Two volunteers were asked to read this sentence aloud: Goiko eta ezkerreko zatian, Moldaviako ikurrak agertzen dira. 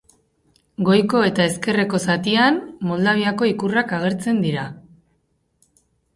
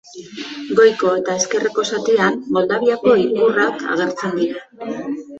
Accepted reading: second